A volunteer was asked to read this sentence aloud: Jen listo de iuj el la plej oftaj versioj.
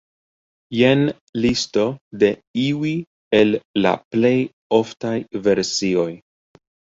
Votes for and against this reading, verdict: 1, 2, rejected